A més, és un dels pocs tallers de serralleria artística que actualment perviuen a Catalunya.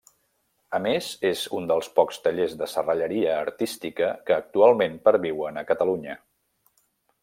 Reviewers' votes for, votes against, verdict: 3, 0, accepted